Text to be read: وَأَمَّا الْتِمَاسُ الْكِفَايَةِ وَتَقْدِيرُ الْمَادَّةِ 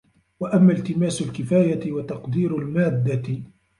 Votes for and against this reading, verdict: 0, 2, rejected